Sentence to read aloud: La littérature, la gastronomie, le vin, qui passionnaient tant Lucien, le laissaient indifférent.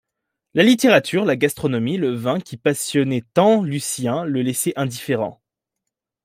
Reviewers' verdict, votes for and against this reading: accepted, 2, 0